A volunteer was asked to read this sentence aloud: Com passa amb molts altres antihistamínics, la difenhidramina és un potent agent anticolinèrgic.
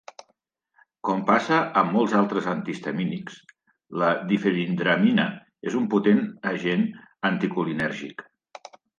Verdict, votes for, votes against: accepted, 2, 0